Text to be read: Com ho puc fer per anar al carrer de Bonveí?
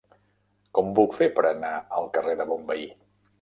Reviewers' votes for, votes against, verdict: 0, 2, rejected